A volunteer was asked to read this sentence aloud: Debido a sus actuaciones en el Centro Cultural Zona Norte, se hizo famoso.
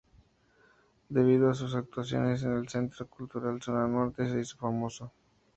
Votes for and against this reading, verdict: 2, 0, accepted